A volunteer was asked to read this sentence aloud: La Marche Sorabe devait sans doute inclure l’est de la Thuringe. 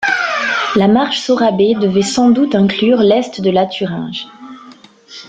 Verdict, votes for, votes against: accepted, 2, 0